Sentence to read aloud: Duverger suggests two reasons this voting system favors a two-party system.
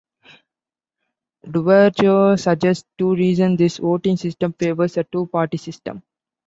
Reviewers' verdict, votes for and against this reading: accepted, 2, 0